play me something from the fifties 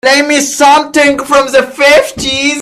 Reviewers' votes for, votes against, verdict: 1, 2, rejected